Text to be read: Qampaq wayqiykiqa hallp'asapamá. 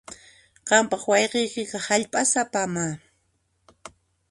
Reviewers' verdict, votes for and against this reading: rejected, 1, 2